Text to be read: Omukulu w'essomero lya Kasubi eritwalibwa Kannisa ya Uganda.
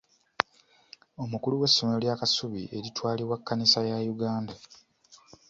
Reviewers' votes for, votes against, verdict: 1, 2, rejected